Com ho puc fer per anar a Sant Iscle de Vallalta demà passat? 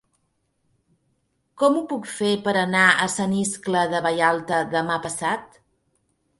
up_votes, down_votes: 3, 0